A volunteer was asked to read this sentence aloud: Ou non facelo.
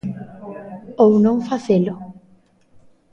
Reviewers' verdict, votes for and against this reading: accepted, 2, 0